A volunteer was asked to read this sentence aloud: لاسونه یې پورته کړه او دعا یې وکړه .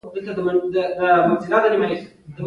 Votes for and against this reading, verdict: 1, 2, rejected